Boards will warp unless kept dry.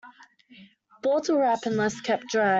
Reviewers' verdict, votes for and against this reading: rejected, 0, 2